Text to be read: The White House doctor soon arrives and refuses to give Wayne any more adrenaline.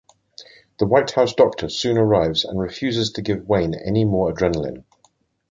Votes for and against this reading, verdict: 2, 0, accepted